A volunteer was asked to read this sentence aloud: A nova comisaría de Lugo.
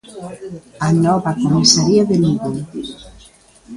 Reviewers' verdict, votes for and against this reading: accepted, 2, 0